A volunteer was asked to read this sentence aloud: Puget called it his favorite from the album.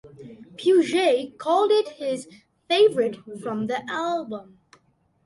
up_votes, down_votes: 2, 0